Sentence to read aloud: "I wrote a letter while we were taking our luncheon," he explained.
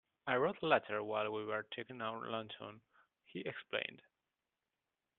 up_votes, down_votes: 0, 2